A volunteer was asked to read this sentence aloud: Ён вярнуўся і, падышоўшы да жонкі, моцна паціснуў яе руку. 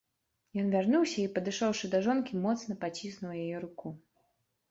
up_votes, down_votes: 2, 0